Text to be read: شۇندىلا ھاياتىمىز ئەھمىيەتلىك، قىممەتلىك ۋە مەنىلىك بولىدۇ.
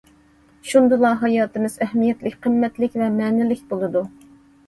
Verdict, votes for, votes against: accepted, 2, 0